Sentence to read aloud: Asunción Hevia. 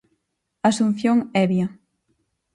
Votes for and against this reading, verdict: 4, 0, accepted